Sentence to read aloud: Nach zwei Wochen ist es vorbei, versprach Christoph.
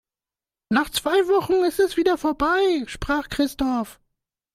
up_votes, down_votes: 0, 2